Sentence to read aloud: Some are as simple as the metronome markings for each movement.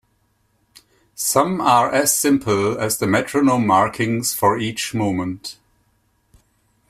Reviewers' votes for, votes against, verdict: 0, 2, rejected